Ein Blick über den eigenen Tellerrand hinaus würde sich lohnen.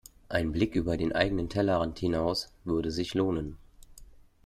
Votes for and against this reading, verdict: 2, 0, accepted